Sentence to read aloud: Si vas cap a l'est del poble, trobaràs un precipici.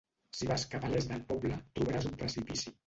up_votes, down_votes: 1, 2